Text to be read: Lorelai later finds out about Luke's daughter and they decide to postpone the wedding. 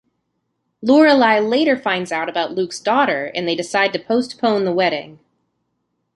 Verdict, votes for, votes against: accepted, 2, 0